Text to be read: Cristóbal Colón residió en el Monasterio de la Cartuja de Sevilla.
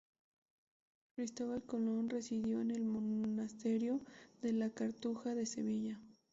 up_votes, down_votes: 0, 2